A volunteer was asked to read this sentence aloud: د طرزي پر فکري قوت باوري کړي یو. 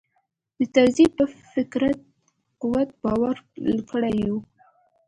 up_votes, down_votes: 1, 2